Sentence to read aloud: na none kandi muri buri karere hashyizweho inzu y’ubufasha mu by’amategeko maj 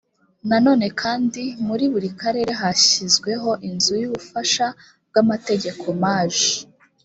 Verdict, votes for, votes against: rejected, 1, 2